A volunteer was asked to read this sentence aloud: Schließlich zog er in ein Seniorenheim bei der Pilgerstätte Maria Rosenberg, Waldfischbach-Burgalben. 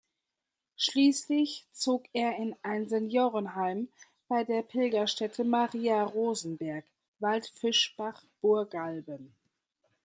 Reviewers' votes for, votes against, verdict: 2, 1, accepted